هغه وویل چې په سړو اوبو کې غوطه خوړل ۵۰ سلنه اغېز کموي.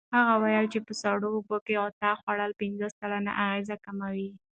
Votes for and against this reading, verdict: 0, 2, rejected